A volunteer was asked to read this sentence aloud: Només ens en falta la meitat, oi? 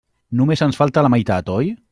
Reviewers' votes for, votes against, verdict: 1, 2, rejected